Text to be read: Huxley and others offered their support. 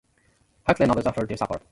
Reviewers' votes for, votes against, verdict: 0, 2, rejected